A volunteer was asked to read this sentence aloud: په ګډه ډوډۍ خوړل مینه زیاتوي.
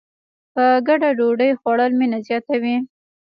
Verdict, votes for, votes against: rejected, 1, 2